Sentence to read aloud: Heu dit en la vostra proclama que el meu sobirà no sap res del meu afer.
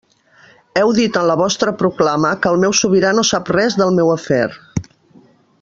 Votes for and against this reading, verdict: 3, 0, accepted